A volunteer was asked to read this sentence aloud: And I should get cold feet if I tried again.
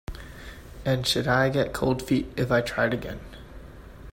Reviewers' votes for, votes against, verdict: 1, 2, rejected